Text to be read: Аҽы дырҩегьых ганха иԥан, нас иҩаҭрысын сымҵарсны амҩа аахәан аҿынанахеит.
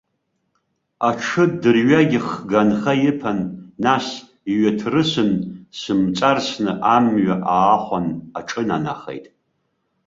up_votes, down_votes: 0, 2